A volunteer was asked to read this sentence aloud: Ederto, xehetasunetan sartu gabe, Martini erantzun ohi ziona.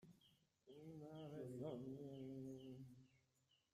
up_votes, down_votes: 0, 2